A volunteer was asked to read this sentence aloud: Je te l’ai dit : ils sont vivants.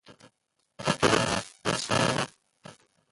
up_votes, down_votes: 0, 2